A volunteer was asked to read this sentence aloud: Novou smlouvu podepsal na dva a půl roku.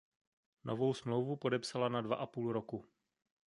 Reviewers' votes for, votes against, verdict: 1, 2, rejected